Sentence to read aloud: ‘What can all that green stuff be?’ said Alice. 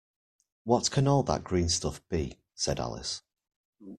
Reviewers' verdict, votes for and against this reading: accepted, 2, 1